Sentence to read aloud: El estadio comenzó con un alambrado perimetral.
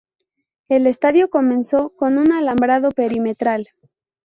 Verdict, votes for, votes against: rejected, 0, 2